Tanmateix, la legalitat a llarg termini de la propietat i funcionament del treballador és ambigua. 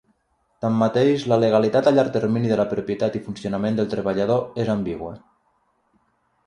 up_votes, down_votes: 3, 0